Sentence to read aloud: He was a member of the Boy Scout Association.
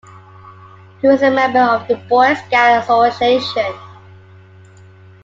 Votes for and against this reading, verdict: 2, 0, accepted